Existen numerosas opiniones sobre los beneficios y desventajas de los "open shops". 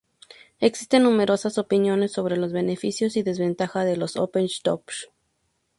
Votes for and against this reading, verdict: 0, 4, rejected